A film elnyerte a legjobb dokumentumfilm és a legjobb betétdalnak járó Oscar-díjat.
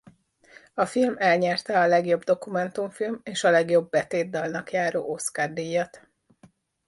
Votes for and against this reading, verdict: 2, 0, accepted